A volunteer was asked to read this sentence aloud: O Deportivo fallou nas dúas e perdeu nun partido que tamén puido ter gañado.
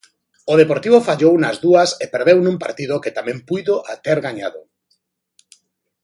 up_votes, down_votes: 0, 2